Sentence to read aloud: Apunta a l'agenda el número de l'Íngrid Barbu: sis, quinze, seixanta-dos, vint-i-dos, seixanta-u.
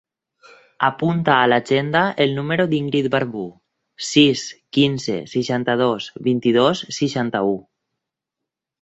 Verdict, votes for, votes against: rejected, 2, 4